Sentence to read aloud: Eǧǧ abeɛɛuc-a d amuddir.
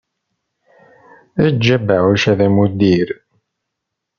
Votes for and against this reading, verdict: 2, 0, accepted